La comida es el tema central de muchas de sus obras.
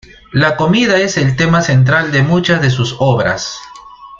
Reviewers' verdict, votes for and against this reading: accepted, 2, 0